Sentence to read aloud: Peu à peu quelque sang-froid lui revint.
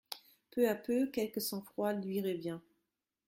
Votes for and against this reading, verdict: 1, 2, rejected